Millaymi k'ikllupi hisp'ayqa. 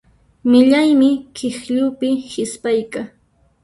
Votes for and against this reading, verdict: 0, 2, rejected